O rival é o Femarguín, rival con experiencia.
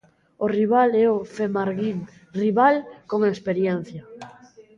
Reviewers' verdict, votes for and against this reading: rejected, 1, 2